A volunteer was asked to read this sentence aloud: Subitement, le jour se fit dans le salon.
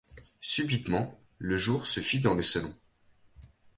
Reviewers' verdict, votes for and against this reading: accepted, 2, 0